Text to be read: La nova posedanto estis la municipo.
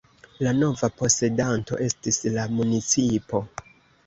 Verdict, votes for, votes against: accepted, 2, 0